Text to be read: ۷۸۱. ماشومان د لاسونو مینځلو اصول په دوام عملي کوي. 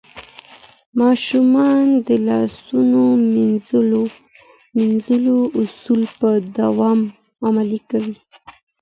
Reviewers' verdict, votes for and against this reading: rejected, 0, 2